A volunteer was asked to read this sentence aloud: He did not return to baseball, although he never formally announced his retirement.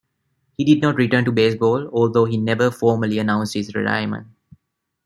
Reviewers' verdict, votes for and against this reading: accepted, 2, 0